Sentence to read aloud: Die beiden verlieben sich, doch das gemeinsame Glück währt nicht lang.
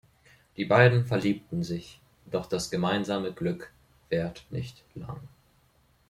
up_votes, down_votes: 0, 2